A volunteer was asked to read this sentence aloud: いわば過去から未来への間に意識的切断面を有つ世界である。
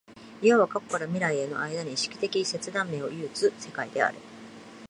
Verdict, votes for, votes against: accepted, 2, 0